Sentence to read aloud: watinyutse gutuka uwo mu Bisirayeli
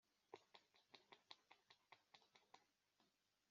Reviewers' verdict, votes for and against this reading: rejected, 0, 2